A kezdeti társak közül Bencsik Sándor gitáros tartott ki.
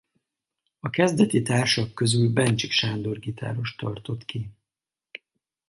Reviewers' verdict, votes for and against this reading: accepted, 4, 0